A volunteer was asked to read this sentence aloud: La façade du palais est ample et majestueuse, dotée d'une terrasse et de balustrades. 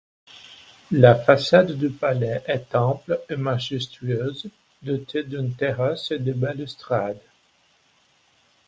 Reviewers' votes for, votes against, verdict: 2, 0, accepted